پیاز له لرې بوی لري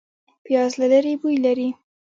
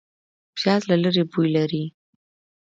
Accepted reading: second